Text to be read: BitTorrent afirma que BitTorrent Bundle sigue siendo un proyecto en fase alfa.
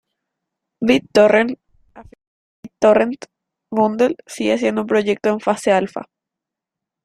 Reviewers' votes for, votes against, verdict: 0, 2, rejected